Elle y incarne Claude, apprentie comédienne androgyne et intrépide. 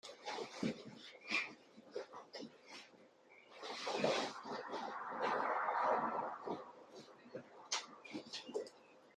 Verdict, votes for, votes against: rejected, 0, 2